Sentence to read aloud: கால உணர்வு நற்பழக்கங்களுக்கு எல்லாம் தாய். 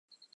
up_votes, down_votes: 0, 2